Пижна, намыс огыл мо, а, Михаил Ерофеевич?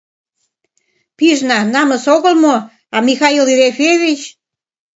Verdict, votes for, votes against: accepted, 2, 0